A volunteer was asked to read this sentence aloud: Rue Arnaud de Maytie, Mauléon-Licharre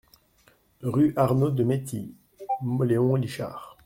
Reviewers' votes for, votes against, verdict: 0, 2, rejected